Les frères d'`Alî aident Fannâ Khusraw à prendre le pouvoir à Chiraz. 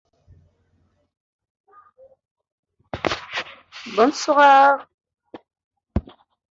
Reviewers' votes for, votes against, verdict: 1, 2, rejected